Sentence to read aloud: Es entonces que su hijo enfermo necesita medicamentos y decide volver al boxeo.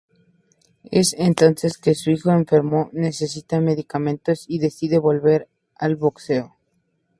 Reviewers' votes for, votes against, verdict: 2, 0, accepted